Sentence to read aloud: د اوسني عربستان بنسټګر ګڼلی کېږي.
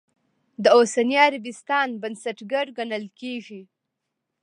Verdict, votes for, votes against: rejected, 1, 2